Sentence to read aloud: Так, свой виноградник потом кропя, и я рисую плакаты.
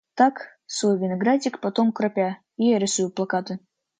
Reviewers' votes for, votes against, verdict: 2, 0, accepted